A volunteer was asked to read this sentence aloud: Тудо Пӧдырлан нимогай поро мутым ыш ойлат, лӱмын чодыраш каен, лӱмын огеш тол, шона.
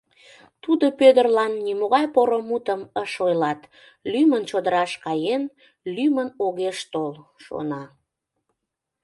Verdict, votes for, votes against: accepted, 2, 0